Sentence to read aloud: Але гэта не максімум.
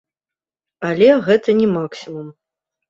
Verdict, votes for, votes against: rejected, 1, 2